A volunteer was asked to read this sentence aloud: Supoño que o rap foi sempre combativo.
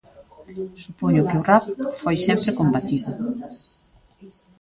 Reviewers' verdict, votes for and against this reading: rejected, 0, 2